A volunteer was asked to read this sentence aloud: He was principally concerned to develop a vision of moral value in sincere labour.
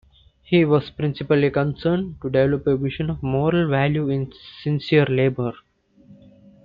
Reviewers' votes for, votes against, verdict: 2, 0, accepted